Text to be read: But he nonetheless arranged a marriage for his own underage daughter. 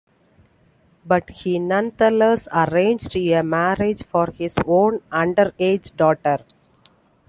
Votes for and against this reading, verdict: 3, 1, accepted